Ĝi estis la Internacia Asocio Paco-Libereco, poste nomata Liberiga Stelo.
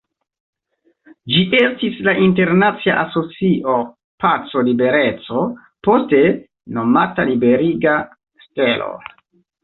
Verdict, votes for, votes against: accepted, 2, 1